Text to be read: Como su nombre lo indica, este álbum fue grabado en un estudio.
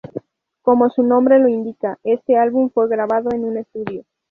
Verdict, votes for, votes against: rejected, 0, 2